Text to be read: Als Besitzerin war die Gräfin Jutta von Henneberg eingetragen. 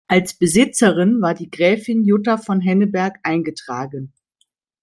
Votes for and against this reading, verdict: 2, 0, accepted